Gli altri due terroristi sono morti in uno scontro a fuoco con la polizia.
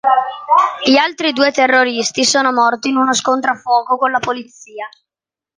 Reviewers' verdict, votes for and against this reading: accepted, 2, 0